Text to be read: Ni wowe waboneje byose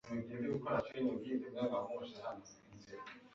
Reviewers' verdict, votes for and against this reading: rejected, 1, 2